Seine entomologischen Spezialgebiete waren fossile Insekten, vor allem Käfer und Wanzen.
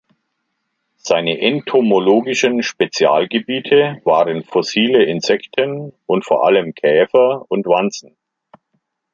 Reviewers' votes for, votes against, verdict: 1, 2, rejected